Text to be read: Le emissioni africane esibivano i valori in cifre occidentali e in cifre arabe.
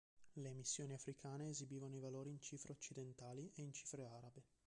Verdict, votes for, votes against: rejected, 1, 2